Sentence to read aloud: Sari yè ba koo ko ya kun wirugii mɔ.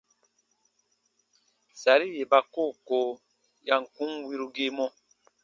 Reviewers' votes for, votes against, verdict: 2, 0, accepted